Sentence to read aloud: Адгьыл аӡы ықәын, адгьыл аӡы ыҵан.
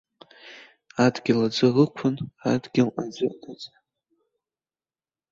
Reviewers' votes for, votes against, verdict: 2, 0, accepted